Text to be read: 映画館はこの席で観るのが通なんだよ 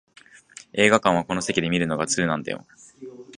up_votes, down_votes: 2, 0